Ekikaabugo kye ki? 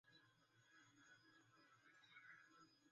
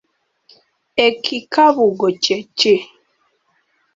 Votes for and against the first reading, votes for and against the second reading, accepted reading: 0, 2, 2, 0, second